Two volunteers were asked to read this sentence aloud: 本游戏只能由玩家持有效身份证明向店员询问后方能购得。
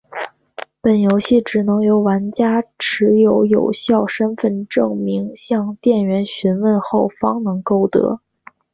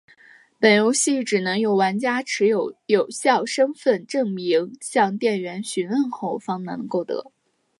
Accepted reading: second